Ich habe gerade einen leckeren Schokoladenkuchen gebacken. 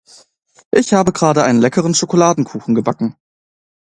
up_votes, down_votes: 2, 0